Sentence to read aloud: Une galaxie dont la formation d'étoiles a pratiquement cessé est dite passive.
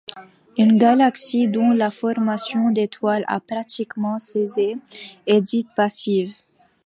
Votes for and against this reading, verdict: 1, 2, rejected